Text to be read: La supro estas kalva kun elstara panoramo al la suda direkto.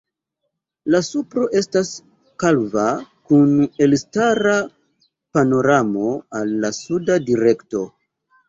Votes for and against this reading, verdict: 2, 1, accepted